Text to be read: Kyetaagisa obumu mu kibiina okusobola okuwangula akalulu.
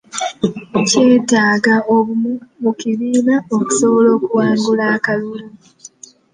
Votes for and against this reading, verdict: 0, 2, rejected